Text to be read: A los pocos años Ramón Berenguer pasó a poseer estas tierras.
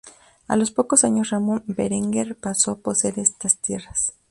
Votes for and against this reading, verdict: 2, 0, accepted